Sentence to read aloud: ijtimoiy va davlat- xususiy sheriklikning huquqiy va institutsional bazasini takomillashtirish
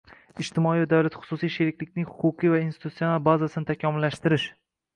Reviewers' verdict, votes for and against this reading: rejected, 1, 2